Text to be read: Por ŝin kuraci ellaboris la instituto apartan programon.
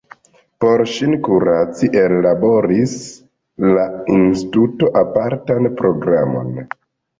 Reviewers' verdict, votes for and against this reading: rejected, 1, 2